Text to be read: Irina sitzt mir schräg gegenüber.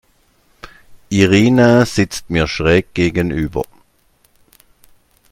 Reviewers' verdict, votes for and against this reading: accepted, 2, 0